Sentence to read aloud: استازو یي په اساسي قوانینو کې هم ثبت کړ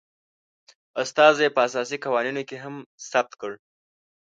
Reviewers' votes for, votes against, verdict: 2, 0, accepted